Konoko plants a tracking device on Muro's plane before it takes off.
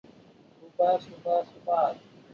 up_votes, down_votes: 0, 2